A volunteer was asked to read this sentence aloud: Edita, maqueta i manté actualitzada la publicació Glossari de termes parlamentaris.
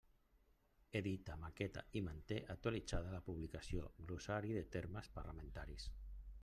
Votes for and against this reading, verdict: 2, 0, accepted